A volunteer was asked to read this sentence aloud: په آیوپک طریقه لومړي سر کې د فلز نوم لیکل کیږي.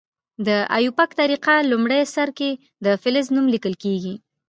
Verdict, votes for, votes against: rejected, 1, 2